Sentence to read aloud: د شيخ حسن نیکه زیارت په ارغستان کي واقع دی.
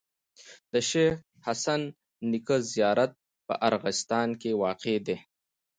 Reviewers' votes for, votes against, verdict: 2, 0, accepted